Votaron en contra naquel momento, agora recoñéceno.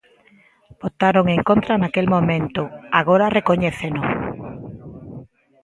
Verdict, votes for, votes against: accepted, 2, 0